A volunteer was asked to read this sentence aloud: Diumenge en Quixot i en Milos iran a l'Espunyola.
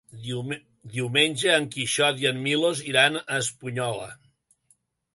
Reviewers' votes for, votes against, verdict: 1, 2, rejected